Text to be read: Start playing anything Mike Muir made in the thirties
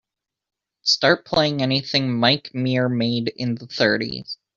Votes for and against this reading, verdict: 2, 0, accepted